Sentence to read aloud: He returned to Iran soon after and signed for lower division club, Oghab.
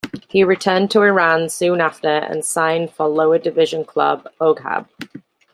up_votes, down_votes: 2, 0